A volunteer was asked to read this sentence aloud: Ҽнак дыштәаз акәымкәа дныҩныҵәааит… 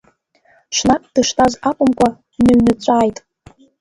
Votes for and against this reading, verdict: 2, 0, accepted